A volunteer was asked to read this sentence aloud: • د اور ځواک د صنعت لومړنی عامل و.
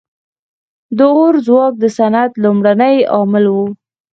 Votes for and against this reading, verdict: 0, 4, rejected